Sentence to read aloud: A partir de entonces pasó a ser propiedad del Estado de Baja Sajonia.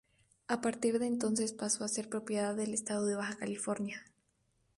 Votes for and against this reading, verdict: 0, 2, rejected